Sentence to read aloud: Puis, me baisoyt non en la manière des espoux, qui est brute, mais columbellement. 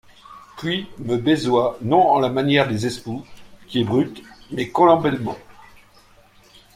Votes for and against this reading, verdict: 2, 0, accepted